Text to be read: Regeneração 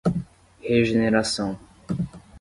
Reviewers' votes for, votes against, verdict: 10, 0, accepted